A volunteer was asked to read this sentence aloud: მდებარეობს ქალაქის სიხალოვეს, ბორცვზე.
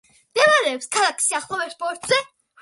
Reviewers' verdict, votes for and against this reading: accepted, 2, 1